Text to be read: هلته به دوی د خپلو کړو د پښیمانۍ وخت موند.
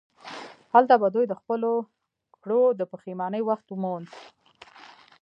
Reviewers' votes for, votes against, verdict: 2, 0, accepted